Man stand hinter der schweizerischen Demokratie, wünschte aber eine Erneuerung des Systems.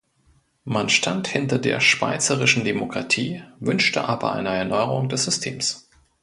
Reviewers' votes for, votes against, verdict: 2, 0, accepted